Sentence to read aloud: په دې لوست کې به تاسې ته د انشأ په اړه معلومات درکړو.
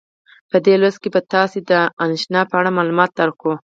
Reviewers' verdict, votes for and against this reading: accepted, 4, 0